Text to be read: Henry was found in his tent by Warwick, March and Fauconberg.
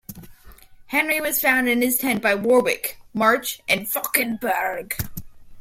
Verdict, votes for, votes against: accepted, 2, 1